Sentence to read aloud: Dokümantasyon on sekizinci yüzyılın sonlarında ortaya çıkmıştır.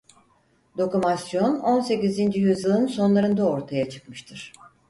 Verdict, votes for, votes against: rejected, 0, 4